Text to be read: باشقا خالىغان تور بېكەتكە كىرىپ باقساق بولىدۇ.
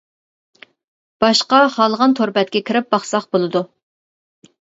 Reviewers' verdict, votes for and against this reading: rejected, 0, 2